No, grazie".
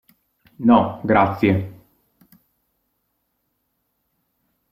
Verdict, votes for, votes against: accepted, 2, 0